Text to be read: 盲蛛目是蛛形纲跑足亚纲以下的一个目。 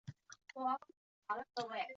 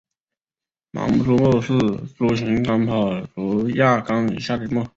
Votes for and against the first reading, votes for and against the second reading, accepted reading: 1, 3, 2, 0, second